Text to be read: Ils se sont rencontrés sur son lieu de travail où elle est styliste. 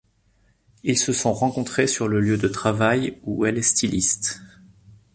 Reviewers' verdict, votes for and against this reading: rejected, 1, 2